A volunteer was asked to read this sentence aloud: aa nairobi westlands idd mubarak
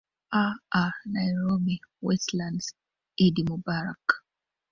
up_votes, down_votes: 2, 0